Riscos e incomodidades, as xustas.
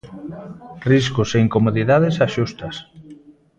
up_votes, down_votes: 1, 2